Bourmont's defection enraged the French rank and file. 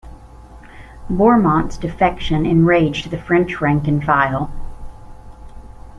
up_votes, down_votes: 2, 0